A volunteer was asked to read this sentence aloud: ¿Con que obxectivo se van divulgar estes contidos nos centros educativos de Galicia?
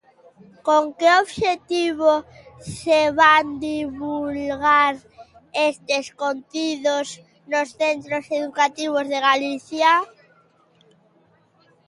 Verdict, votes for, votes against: rejected, 1, 2